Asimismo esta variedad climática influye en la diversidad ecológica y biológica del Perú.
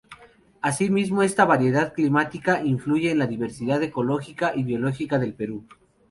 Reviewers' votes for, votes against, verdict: 2, 2, rejected